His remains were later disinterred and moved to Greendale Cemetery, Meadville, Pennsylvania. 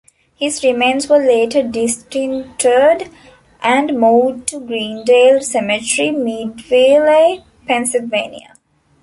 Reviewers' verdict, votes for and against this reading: rejected, 0, 2